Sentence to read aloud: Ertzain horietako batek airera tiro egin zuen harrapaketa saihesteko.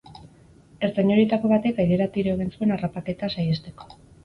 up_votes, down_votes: 4, 0